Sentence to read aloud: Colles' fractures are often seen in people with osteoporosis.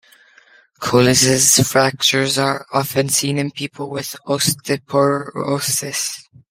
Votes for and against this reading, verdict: 0, 2, rejected